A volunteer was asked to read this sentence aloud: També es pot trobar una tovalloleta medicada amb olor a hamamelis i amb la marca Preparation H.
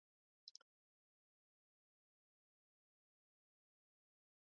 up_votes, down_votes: 0, 2